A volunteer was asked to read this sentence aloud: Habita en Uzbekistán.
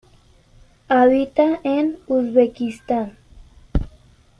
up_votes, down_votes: 2, 1